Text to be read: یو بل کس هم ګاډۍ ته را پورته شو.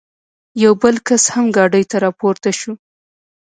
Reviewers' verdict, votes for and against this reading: rejected, 0, 2